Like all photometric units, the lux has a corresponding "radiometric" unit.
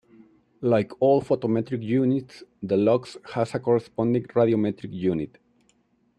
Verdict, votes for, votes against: accepted, 2, 0